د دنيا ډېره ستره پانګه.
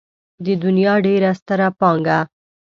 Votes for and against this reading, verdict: 2, 0, accepted